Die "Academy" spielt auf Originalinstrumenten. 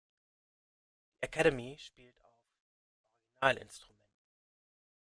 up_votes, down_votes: 0, 2